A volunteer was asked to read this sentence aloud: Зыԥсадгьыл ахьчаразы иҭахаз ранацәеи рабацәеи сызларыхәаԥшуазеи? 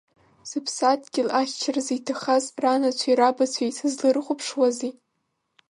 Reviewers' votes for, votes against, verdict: 2, 0, accepted